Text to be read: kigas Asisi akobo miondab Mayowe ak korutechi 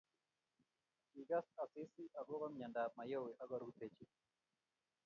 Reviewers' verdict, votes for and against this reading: rejected, 0, 2